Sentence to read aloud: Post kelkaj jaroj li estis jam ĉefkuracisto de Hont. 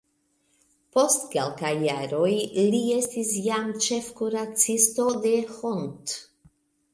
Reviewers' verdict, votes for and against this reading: accepted, 2, 1